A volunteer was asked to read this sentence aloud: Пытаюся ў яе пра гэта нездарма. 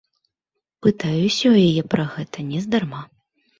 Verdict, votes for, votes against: accepted, 2, 0